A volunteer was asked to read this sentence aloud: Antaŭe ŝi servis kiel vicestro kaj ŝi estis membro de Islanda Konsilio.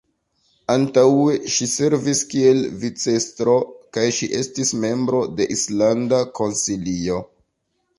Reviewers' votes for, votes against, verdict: 1, 2, rejected